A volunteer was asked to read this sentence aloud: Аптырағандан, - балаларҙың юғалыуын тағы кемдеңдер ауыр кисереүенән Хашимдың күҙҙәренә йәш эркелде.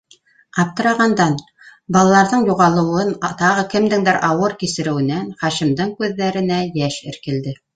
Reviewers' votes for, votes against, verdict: 1, 2, rejected